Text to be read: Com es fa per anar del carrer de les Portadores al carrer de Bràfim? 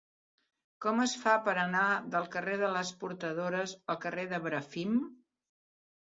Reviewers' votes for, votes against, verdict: 0, 2, rejected